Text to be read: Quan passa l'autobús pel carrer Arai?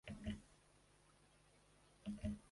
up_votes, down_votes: 0, 2